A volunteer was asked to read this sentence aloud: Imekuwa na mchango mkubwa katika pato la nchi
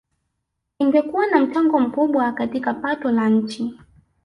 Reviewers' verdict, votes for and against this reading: rejected, 1, 2